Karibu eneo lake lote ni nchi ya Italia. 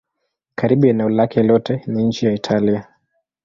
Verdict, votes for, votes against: accepted, 2, 0